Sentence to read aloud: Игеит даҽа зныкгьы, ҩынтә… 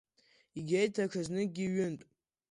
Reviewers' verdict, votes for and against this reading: rejected, 1, 2